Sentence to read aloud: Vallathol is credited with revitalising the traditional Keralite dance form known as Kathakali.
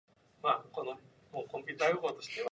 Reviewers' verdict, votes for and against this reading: rejected, 0, 2